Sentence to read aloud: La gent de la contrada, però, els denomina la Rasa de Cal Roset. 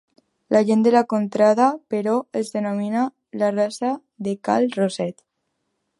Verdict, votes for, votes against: accepted, 2, 1